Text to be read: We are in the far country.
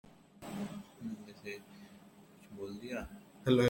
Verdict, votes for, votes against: rejected, 0, 2